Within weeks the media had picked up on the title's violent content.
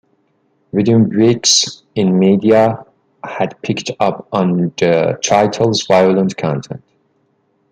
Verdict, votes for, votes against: accepted, 2, 0